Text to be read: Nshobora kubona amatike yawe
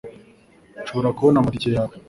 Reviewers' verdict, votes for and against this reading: accepted, 3, 0